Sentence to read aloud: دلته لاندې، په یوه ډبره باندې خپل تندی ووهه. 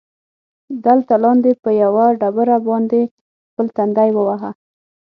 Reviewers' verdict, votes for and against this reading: accepted, 6, 0